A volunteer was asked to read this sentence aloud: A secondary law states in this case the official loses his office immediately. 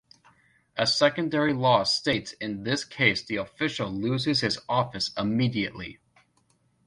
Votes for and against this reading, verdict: 2, 0, accepted